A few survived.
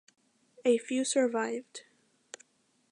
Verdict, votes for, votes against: accepted, 2, 0